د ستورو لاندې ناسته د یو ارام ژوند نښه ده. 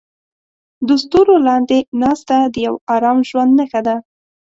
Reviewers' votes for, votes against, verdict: 2, 0, accepted